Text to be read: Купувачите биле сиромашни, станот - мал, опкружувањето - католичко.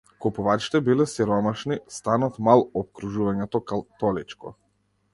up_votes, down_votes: 1, 2